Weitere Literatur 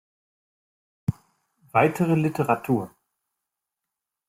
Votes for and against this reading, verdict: 2, 0, accepted